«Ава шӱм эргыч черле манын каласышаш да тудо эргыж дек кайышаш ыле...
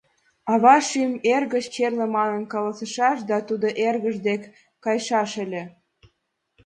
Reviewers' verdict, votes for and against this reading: accepted, 2, 0